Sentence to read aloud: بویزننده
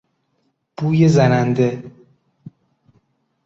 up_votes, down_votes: 2, 0